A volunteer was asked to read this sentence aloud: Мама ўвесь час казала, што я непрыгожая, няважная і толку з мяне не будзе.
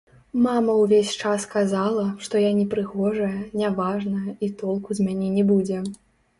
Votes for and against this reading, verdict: 0, 2, rejected